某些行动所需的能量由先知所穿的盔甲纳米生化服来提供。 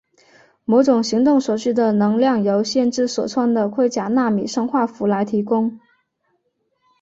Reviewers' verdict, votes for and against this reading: accepted, 2, 1